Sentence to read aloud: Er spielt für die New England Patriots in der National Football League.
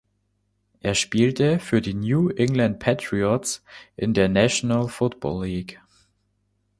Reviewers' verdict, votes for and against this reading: rejected, 0, 2